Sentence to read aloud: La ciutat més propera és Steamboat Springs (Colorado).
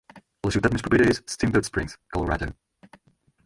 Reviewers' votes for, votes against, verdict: 0, 4, rejected